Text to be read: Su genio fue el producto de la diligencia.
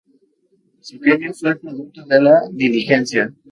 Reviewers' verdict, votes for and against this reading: accepted, 2, 0